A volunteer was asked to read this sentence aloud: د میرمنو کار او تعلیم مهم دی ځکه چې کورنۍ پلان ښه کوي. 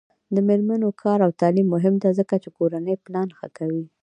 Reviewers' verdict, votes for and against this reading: rejected, 1, 2